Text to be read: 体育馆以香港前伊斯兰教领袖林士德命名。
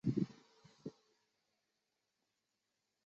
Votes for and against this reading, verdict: 0, 2, rejected